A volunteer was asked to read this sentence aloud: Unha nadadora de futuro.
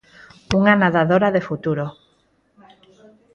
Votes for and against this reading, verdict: 2, 4, rejected